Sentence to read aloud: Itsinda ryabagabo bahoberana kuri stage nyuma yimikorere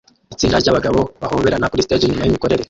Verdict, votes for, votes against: rejected, 0, 2